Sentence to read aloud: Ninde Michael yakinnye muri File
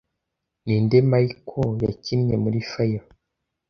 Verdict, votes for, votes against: accepted, 2, 0